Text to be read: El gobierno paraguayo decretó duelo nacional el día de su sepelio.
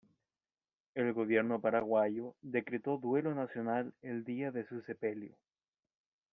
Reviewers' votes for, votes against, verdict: 0, 2, rejected